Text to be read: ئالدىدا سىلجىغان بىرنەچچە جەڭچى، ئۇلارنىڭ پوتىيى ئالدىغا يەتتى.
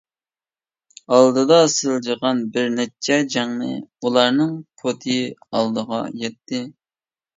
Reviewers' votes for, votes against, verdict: 1, 2, rejected